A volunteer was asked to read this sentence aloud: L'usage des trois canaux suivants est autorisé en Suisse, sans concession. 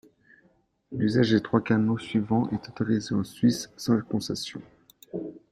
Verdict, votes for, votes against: accepted, 2, 0